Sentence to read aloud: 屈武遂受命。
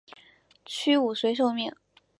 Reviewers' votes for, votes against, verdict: 3, 0, accepted